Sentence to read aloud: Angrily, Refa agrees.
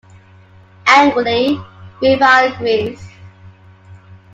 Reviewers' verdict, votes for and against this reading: accepted, 2, 1